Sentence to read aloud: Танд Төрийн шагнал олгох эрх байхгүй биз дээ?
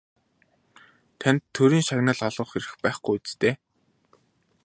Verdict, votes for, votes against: accepted, 2, 0